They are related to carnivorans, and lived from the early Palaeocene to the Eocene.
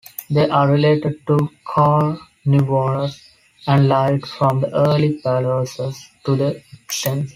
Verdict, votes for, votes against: rejected, 0, 2